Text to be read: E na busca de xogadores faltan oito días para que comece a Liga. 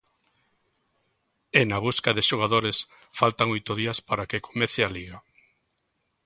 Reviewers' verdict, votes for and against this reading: accepted, 2, 0